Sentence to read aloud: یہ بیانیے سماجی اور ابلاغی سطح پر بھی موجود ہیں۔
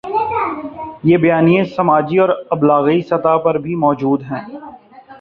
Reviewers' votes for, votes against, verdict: 2, 0, accepted